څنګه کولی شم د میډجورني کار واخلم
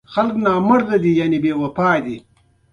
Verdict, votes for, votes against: rejected, 1, 2